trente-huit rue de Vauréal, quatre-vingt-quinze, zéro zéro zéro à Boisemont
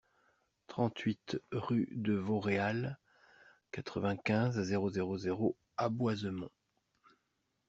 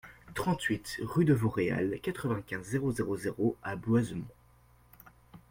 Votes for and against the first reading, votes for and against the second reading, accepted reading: 2, 0, 0, 2, first